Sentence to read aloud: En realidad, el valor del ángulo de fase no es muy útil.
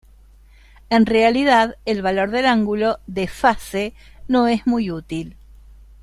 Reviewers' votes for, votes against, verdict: 2, 0, accepted